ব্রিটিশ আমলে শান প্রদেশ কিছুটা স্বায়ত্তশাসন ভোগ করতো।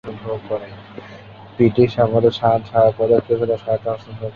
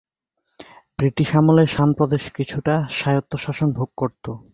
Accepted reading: second